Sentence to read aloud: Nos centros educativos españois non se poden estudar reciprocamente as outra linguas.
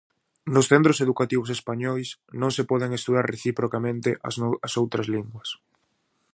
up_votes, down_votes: 0, 2